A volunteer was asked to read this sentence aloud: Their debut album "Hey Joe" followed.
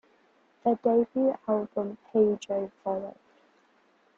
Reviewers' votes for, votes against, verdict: 0, 2, rejected